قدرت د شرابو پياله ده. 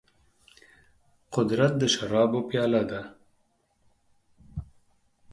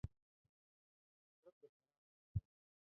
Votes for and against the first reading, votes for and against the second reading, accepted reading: 4, 0, 0, 2, first